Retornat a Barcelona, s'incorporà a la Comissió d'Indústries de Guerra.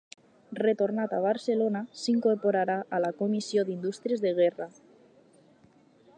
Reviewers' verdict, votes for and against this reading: rejected, 2, 2